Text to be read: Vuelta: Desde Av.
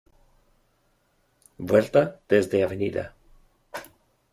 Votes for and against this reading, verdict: 0, 2, rejected